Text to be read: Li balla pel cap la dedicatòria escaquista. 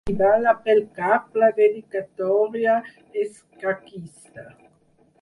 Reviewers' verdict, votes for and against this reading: rejected, 2, 4